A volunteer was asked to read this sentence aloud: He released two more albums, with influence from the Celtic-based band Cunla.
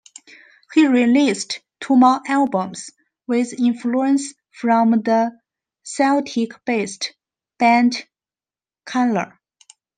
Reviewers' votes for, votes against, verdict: 2, 0, accepted